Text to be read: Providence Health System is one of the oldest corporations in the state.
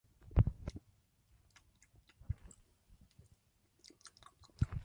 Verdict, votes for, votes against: rejected, 0, 2